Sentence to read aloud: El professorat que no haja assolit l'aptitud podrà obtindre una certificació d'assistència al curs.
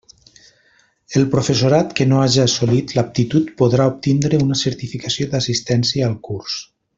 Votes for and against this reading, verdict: 3, 0, accepted